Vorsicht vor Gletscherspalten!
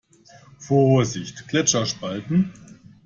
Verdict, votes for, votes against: rejected, 0, 2